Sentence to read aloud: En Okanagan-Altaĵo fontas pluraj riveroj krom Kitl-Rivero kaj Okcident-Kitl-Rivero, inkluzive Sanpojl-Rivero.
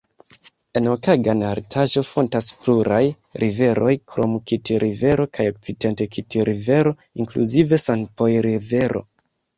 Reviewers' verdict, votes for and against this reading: accepted, 2, 1